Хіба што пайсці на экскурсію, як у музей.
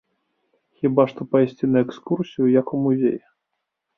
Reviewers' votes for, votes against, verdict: 3, 0, accepted